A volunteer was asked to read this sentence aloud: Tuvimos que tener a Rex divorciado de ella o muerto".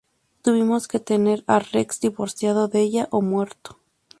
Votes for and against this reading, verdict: 2, 0, accepted